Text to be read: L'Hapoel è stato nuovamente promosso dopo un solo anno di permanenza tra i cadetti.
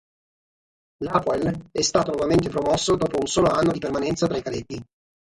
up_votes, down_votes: 3, 3